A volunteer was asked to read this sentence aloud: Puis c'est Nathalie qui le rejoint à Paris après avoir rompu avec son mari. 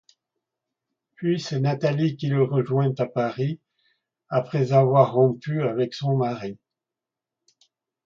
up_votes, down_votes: 2, 0